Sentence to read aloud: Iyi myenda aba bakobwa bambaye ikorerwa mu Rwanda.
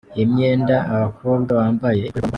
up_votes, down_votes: 0, 2